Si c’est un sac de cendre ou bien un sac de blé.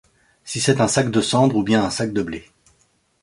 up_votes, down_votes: 2, 0